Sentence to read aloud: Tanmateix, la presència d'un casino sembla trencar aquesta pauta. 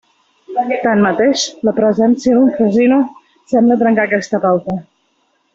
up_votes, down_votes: 1, 2